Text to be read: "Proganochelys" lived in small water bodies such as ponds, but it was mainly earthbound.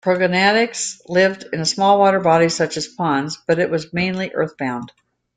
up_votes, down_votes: 2, 1